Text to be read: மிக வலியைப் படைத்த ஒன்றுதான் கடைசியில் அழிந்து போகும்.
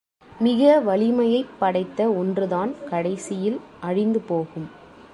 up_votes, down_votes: 1, 2